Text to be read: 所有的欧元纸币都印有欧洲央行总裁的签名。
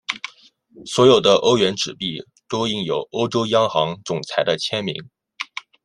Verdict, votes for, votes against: accepted, 2, 0